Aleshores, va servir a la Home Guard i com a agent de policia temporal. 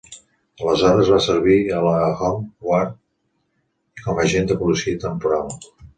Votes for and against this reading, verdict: 1, 2, rejected